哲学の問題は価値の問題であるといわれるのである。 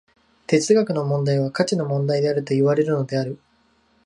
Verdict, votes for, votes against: accepted, 2, 0